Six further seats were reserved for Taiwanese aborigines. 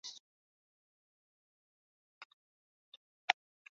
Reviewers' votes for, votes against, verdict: 0, 2, rejected